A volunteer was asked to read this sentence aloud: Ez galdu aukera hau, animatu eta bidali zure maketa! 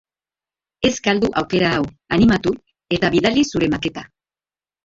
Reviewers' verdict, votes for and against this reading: accepted, 2, 1